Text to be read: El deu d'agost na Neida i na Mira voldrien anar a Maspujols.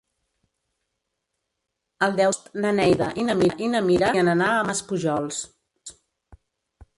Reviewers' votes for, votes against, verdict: 0, 3, rejected